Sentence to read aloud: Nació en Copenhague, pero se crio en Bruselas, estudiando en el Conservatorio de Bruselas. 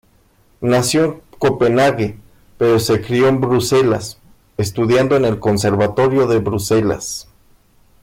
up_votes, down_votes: 1, 2